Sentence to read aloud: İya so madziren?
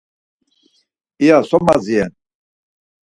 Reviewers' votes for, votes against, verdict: 4, 0, accepted